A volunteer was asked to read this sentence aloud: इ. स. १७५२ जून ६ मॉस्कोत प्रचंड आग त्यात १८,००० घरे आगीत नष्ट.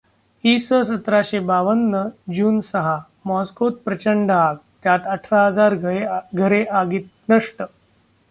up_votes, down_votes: 0, 2